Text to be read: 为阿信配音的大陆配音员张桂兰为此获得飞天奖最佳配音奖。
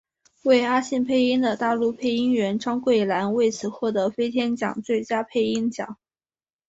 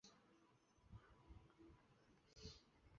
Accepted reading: first